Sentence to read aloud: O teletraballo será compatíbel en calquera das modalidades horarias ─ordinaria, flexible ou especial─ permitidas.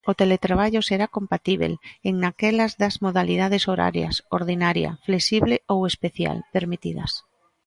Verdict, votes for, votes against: rejected, 0, 3